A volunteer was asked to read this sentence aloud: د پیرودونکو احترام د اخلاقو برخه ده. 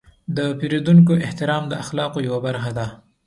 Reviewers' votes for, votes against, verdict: 2, 0, accepted